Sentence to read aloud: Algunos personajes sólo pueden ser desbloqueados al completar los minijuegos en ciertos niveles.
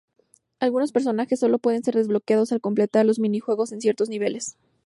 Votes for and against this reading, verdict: 2, 0, accepted